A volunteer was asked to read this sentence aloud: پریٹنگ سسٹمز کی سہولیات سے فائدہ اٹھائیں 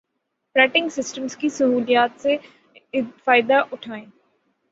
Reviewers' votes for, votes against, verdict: 12, 0, accepted